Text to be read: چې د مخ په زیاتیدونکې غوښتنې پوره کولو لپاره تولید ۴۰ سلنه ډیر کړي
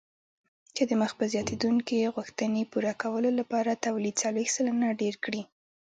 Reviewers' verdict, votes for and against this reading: rejected, 0, 2